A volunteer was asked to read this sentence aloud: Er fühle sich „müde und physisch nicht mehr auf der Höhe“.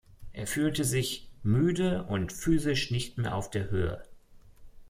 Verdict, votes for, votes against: rejected, 1, 2